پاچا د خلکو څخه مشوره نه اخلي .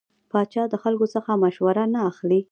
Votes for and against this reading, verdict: 0, 2, rejected